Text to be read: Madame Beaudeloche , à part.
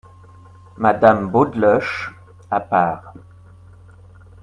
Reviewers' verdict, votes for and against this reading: accepted, 2, 0